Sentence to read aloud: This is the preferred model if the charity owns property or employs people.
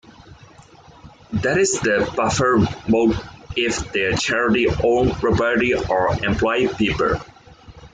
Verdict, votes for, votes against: rejected, 0, 2